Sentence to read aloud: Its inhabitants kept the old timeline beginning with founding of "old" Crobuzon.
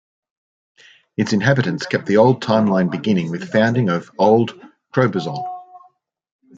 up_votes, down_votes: 2, 0